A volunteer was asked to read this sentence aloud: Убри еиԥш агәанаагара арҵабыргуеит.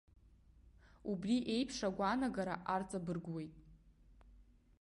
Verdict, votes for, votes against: accepted, 2, 1